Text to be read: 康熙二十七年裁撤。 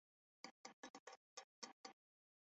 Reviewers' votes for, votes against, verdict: 0, 2, rejected